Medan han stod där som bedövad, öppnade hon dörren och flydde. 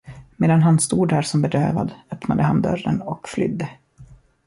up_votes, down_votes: 1, 2